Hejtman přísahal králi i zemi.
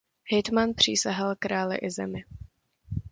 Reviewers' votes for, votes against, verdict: 2, 0, accepted